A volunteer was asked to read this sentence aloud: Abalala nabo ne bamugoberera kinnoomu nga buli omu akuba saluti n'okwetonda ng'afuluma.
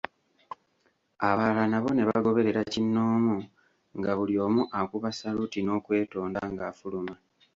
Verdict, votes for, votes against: rejected, 0, 2